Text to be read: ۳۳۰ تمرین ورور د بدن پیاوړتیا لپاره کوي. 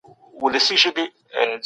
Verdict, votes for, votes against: rejected, 0, 2